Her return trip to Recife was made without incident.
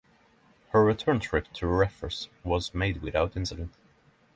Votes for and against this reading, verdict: 3, 12, rejected